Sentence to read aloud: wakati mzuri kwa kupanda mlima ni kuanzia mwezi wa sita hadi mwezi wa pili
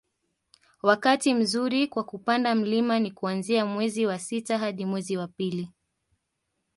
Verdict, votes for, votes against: accepted, 3, 0